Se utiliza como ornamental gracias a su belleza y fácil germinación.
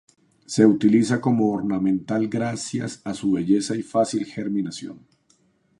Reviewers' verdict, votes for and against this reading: accepted, 2, 0